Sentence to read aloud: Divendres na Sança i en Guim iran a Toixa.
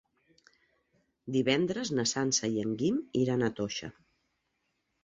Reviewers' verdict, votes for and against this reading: accepted, 3, 0